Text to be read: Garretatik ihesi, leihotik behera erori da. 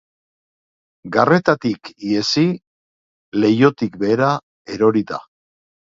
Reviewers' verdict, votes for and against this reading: accepted, 4, 0